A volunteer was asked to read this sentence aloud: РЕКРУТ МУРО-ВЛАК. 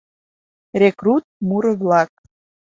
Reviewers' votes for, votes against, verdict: 2, 0, accepted